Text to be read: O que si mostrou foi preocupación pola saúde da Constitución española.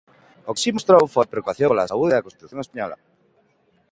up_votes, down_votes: 0, 2